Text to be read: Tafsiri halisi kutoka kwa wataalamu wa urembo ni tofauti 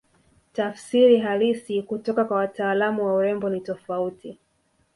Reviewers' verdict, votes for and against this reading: rejected, 1, 2